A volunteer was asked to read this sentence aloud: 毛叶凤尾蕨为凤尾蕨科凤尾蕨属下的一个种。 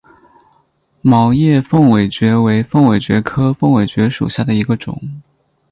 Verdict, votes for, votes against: accepted, 10, 0